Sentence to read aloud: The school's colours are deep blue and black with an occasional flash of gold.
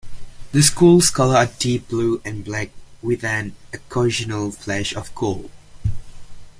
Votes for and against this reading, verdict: 0, 2, rejected